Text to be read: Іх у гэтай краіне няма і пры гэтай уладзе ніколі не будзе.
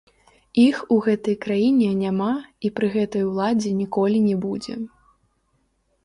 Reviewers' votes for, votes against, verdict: 1, 2, rejected